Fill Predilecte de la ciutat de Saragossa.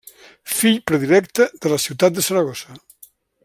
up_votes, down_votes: 2, 0